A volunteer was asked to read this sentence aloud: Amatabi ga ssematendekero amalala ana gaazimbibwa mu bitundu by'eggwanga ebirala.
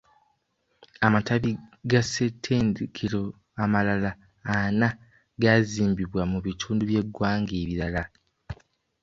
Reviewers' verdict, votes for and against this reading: rejected, 1, 2